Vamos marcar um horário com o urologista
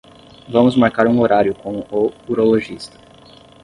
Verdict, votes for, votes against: rejected, 0, 5